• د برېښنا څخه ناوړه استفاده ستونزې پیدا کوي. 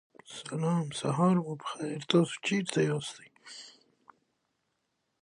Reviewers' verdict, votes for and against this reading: rejected, 1, 2